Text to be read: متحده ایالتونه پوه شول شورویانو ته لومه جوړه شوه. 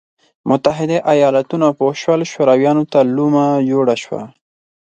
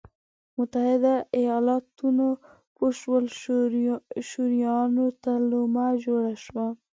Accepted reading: first